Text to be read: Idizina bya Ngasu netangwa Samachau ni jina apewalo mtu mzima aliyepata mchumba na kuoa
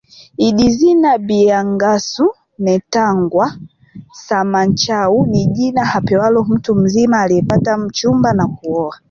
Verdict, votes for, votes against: rejected, 1, 2